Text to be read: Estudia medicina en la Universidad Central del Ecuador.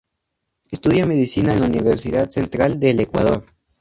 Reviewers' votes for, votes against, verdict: 2, 0, accepted